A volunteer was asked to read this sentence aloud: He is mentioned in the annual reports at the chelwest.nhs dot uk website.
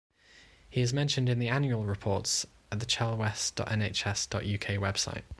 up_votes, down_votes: 3, 0